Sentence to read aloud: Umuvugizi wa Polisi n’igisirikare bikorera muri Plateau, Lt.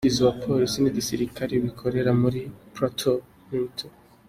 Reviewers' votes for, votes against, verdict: 2, 0, accepted